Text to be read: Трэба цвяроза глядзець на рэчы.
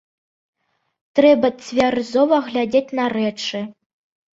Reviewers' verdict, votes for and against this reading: rejected, 1, 2